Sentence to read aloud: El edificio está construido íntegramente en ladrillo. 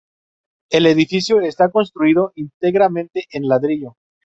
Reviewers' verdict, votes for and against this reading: rejected, 0, 2